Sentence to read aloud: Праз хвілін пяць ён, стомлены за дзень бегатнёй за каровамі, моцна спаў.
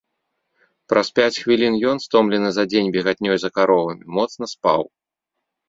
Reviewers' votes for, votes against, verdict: 1, 2, rejected